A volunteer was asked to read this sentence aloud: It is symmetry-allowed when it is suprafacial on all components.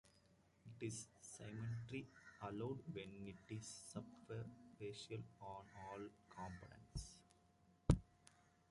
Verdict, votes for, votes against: rejected, 0, 2